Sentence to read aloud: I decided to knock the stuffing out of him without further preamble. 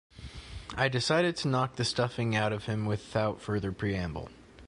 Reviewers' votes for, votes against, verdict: 2, 0, accepted